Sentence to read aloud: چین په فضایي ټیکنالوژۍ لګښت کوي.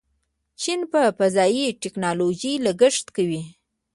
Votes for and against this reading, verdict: 1, 2, rejected